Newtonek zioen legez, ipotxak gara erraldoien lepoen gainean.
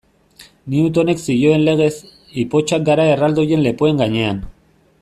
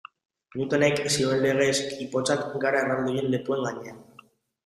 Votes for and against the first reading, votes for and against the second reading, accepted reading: 2, 0, 1, 2, first